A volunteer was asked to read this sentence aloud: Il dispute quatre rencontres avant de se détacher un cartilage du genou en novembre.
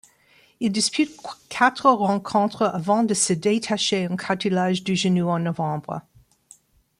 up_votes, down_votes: 2, 0